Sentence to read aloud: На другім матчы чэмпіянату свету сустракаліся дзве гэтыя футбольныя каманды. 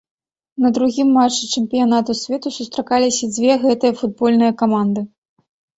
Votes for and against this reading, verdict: 2, 0, accepted